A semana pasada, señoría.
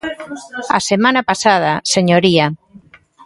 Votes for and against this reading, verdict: 2, 1, accepted